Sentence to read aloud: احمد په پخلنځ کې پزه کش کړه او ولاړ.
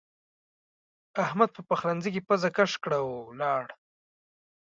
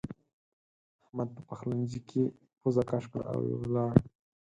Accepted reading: first